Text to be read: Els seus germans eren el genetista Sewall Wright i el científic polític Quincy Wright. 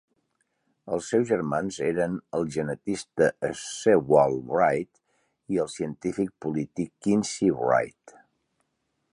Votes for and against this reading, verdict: 3, 0, accepted